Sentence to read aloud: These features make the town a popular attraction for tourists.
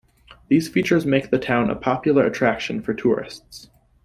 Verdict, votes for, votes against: accepted, 2, 0